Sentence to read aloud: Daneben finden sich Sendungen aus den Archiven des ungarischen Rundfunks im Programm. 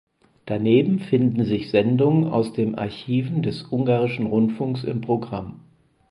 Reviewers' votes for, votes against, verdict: 4, 0, accepted